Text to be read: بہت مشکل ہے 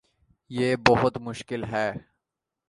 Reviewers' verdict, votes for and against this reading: rejected, 1, 2